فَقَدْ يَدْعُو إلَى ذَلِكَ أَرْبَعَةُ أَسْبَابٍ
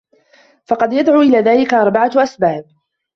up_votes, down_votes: 2, 1